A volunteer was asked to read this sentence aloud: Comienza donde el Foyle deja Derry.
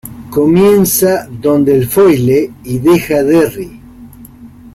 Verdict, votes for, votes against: rejected, 1, 2